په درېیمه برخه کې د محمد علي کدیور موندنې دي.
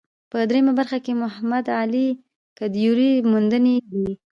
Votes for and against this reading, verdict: 2, 0, accepted